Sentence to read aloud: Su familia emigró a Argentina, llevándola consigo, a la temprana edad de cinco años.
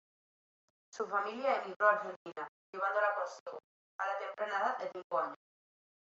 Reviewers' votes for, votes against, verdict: 1, 2, rejected